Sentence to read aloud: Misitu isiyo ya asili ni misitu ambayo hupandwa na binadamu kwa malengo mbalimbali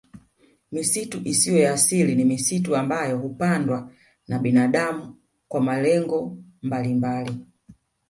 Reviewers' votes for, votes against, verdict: 0, 2, rejected